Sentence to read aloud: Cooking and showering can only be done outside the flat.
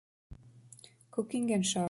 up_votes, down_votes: 0, 3